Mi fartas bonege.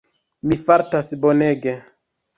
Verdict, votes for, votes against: rejected, 1, 2